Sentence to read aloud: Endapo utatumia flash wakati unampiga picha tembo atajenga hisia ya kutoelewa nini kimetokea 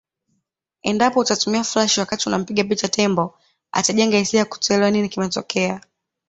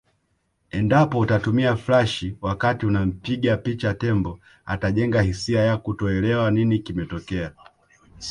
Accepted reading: first